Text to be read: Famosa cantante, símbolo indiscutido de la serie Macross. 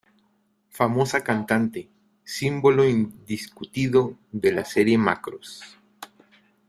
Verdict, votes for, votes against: accepted, 2, 0